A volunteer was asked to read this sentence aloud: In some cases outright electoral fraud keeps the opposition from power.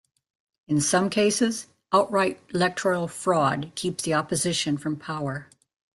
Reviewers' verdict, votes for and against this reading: accepted, 2, 1